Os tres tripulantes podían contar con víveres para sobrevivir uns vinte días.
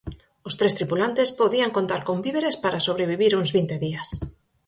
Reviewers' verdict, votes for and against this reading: accepted, 4, 0